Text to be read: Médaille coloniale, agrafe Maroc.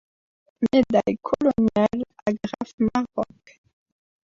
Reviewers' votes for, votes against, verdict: 1, 2, rejected